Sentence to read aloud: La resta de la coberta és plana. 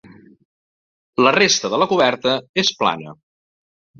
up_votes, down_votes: 1, 2